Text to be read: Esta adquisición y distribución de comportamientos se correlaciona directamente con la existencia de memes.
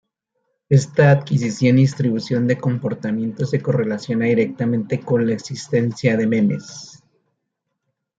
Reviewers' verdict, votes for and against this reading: rejected, 1, 2